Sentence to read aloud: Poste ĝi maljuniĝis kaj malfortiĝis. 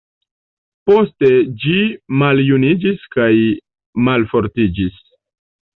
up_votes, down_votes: 2, 0